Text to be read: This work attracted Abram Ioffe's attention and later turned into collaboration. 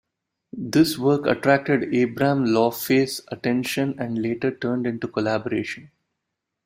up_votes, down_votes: 2, 1